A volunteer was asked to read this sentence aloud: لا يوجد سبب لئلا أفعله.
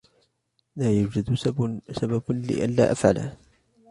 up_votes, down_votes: 2, 1